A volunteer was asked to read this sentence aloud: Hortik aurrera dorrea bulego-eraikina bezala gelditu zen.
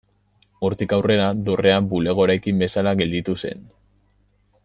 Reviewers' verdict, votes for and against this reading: rejected, 1, 2